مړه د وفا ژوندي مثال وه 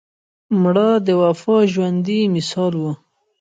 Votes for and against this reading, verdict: 2, 0, accepted